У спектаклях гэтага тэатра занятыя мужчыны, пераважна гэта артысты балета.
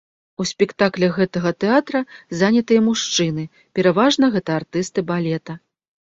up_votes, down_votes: 3, 0